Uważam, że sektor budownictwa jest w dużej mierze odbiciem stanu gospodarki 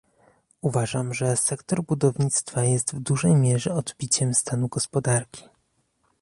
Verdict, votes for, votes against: accepted, 2, 0